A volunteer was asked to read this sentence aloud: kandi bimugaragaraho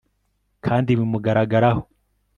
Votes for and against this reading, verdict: 2, 0, accepted